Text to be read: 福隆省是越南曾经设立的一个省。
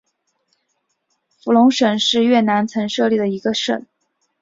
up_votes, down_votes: 1, 2